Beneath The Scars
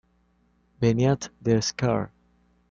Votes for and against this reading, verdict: 0, 2, rejected